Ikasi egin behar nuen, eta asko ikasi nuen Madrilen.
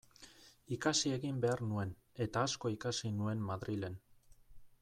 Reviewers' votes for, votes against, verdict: 2, 0, accepted